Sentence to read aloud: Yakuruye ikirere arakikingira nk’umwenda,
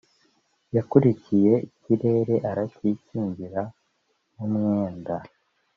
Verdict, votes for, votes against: rejected, 0, 2